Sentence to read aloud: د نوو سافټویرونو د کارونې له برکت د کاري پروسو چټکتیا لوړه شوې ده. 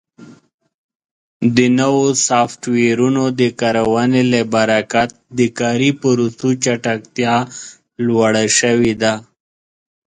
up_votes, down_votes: 2, 1